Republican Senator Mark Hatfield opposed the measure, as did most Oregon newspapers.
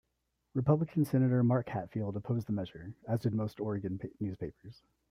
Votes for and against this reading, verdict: 2, 0, accepted